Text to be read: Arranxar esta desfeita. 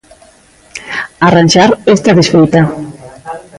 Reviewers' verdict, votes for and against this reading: rejected, 0, 2